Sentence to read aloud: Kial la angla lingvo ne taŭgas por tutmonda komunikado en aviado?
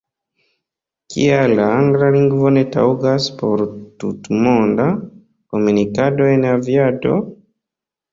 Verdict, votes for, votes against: rejected, 0, 2